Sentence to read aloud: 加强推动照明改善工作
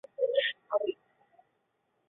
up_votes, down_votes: 0, 2